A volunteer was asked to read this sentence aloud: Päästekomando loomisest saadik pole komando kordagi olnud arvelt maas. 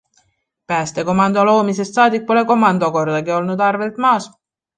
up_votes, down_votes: 2, 0